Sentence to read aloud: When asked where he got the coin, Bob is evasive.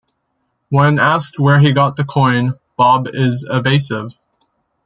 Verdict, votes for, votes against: accepted, 2, 0